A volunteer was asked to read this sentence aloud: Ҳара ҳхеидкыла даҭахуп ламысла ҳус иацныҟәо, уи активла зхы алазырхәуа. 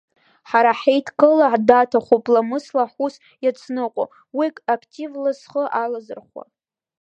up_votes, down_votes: 0, 2